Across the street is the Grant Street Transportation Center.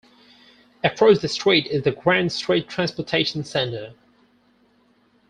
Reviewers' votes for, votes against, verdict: 4, 2, accepted